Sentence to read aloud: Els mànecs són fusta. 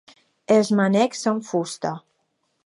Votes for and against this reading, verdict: 0, 2, rejected